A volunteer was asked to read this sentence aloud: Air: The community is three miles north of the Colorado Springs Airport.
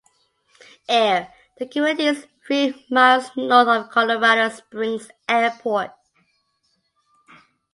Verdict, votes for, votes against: rejected, 1, 2